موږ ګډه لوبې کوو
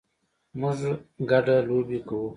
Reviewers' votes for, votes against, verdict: 2, 1, accepted